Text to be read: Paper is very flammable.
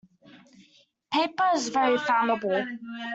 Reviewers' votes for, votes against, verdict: 1, 2, rejected